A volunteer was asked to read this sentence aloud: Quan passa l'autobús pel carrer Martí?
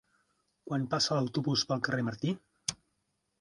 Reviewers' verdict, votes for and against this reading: accepted, 2, 1